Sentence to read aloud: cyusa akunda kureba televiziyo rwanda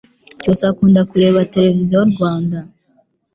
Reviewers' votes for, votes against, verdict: 2, 0, accepted